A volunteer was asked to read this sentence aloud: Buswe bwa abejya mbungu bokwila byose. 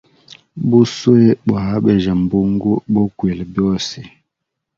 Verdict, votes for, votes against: accepted, 2, 0